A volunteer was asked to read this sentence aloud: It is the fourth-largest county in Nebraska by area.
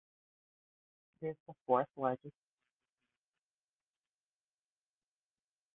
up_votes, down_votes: 0, 2